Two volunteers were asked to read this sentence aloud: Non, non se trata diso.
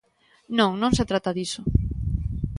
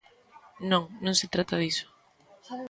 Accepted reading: first